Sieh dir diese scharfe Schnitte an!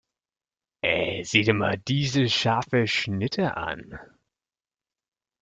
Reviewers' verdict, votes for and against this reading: rejected, 1, 2